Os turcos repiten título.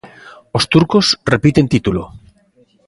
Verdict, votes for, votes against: accepted, 2, 0